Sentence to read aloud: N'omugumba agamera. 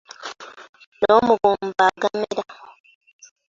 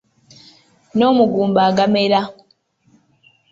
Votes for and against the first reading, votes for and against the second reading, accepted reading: 1, 2, 2, 0, second